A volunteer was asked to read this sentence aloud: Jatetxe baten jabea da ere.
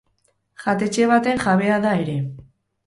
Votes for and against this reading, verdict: 2, 0, accepted